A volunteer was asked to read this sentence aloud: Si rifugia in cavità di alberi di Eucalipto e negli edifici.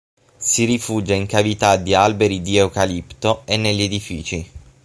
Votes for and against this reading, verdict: 6, 0, accepted